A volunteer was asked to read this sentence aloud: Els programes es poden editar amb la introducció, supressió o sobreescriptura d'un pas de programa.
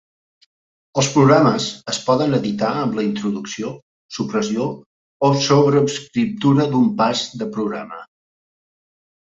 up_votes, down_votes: 1, 3